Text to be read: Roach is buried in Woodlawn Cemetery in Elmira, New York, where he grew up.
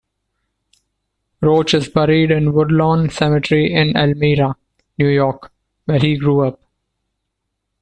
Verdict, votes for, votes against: accepted, 2, 0